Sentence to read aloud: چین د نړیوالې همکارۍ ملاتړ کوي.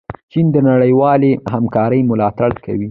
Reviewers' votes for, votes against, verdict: 0, 2, rejected